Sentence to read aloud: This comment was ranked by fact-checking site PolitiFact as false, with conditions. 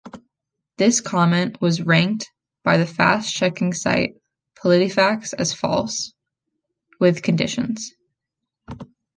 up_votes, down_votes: 2, 0